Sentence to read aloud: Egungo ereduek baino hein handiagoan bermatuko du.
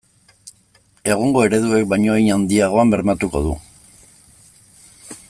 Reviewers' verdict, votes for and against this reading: accepted, 2, 0